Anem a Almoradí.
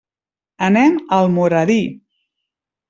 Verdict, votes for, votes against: accepted, 2, 0